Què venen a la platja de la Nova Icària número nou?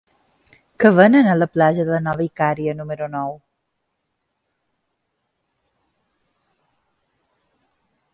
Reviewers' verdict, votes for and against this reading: rejected, 1, 2